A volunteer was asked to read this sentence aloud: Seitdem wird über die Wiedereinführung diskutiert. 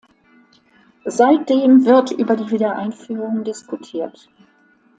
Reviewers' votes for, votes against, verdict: 2, 0, accepted